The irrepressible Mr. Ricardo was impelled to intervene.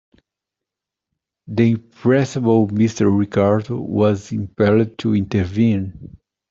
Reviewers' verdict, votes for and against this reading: rejected, 0, 2